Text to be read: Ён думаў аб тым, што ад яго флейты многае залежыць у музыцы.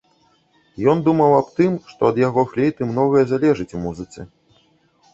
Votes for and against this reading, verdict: 1, 2, rejected